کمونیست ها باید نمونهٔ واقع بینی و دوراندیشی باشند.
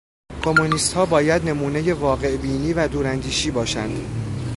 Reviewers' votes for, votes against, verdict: 2, 1, accepted